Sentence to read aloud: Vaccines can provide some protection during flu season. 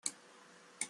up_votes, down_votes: 0, 2